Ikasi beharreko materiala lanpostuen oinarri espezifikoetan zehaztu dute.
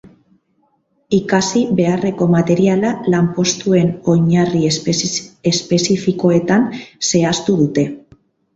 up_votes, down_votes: 0, 4